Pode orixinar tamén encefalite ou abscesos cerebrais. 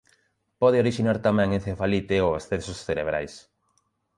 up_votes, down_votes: 1, 2